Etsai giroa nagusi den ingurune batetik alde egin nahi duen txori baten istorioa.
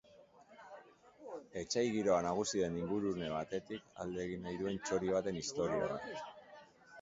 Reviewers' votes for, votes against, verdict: 2, 0, accepted